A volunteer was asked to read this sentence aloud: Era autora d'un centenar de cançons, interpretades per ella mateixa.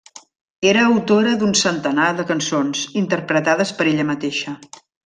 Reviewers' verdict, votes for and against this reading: rejected, 0, 2